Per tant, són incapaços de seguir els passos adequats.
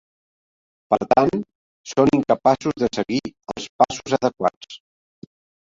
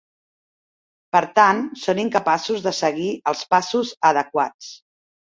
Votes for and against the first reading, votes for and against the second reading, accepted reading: 1, 2, 2, 0, second